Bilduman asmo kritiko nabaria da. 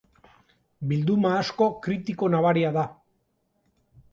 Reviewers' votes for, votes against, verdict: 0, 2, rejected